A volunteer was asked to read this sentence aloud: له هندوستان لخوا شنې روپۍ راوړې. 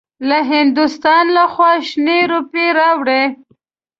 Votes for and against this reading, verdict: 2, 0, accepted